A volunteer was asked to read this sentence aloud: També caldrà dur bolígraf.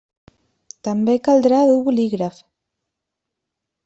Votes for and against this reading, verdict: 2, 0, accepted